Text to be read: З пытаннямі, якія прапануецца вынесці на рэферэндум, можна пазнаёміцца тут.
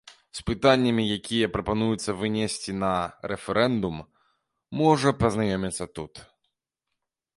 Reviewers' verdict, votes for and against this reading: rejected, 0, 2